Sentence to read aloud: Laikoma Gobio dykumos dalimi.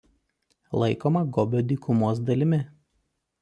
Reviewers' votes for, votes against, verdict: 2, 0, accepted